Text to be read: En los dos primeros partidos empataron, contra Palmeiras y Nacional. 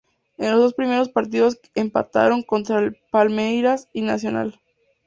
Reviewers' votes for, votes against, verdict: 2, 2, rejected